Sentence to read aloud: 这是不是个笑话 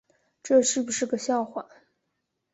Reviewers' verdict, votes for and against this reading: accepted, 2, 0